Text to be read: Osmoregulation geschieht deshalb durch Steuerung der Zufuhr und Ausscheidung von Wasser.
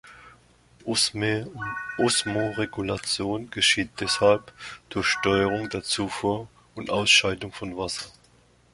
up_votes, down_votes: 1, 2